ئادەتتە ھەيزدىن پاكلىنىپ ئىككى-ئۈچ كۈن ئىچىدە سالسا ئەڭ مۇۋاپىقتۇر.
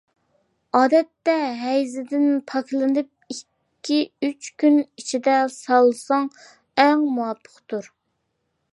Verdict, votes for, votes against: rejected, 1, 2